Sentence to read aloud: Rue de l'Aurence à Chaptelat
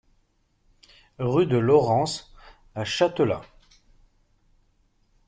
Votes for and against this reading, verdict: 1, 2, rejected